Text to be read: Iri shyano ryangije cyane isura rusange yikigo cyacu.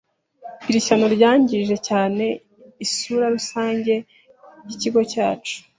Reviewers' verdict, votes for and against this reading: accepted, 3, 0